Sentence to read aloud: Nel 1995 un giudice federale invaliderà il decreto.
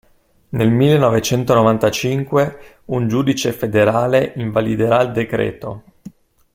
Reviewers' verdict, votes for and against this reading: rejected, 0, 2